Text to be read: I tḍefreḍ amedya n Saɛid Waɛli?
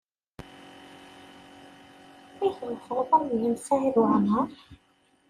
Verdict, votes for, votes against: rejected, 0, 2